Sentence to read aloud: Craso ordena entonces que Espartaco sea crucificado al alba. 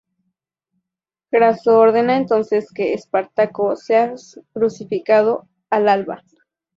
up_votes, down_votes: 0, 4